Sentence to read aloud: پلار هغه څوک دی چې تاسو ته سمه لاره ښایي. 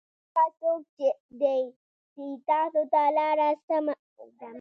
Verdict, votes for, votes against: accepted, 2, 0